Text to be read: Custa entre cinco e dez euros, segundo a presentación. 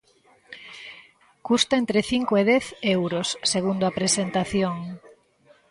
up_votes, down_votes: 2, 0